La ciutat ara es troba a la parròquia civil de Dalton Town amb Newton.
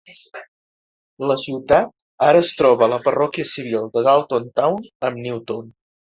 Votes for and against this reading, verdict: 2, 0, accepted